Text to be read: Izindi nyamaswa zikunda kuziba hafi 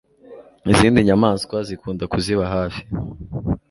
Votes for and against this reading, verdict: 2, 0, accepted